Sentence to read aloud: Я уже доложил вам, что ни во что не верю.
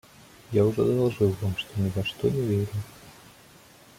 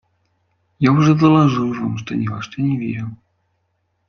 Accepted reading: second